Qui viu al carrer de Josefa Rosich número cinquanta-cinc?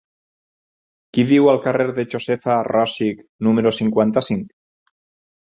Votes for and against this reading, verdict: 6, 0, accepted